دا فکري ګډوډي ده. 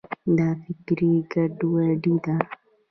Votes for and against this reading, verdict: 2, 0, accepted